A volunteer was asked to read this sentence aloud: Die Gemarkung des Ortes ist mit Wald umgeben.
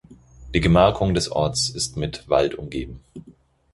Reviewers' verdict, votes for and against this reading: accepted, 4, 0